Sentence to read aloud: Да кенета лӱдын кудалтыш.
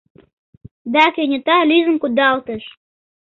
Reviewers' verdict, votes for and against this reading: accepted, 2, 0